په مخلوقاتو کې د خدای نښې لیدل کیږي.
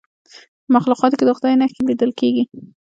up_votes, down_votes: 2, 0